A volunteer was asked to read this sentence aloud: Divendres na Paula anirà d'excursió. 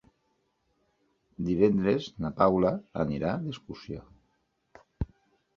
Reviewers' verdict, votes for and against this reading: accepted, 4, 0